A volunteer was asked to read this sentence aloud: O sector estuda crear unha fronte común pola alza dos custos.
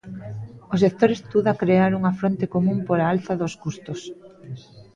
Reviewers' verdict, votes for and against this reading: accepted, 2, 0